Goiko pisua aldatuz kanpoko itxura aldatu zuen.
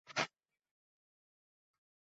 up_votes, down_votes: 0, 2